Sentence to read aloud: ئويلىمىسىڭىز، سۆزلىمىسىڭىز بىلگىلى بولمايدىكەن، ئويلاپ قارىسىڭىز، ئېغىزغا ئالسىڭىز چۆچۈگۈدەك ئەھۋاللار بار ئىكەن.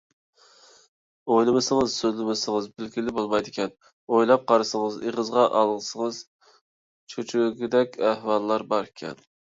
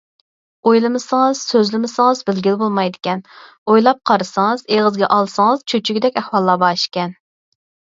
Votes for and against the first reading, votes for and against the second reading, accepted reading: 0, 2, 4, 0, second